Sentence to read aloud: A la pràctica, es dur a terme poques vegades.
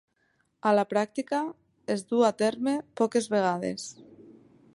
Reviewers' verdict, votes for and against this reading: accepted, 3, 0